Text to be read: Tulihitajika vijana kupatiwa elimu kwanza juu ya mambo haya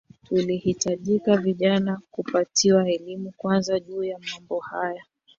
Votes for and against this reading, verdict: 0, 2, rejected